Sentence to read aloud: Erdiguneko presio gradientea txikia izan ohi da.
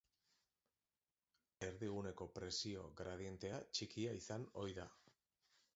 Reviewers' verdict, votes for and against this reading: rejected, 1, 2